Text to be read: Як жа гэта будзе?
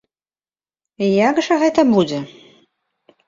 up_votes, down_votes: 2, 0